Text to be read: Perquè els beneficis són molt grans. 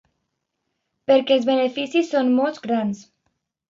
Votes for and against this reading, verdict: 2, 0, accepted